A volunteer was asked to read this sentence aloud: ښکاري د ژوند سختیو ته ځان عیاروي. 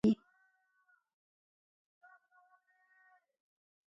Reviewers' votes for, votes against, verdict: 0, 2, rejected